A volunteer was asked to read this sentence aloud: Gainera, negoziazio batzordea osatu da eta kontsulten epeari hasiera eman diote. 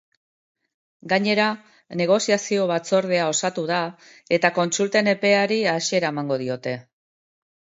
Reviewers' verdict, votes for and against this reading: rejected, 1, 2